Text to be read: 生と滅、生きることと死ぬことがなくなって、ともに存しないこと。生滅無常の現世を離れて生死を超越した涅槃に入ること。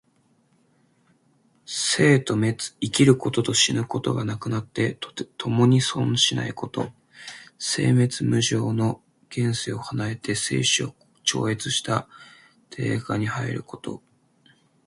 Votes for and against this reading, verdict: 2, 1, accepted